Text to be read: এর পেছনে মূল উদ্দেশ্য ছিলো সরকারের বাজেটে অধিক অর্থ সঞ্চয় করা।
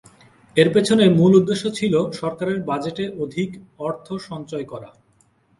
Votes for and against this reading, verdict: 4, 0, accepted